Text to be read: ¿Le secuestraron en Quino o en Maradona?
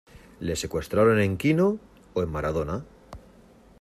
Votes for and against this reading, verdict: 2, 0, accepted